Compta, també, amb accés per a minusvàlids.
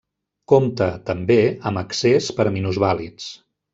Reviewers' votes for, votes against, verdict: 1, 2, rejected